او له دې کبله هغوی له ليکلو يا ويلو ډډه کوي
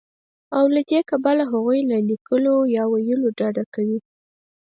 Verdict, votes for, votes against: accepted, 4, 0